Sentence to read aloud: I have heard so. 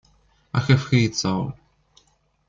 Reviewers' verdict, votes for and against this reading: rejected, 0, 2